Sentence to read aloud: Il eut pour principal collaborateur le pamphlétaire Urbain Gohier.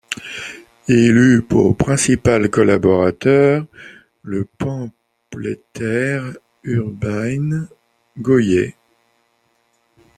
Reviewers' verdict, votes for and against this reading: rejected, 1, 2